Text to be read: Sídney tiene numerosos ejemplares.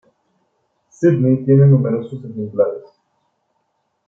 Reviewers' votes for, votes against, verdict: 0, 2, rejected